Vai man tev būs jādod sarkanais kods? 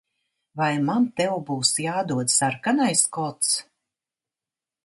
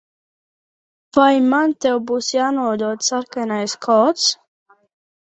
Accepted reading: first